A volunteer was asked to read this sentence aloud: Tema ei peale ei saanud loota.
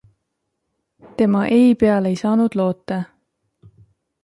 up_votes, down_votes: 2, 0